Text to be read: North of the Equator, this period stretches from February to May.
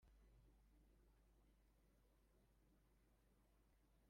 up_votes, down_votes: 0, 2